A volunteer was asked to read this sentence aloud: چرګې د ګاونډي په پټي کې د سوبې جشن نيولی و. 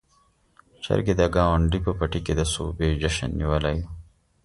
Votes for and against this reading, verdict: 2, 1, accepted